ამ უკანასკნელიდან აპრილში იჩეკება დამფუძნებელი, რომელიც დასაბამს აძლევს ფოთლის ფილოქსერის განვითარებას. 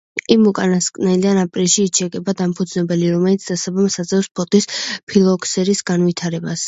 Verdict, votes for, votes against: rejected, 0, 2